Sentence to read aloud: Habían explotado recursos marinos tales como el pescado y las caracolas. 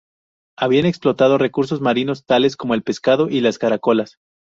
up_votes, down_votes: 2, 0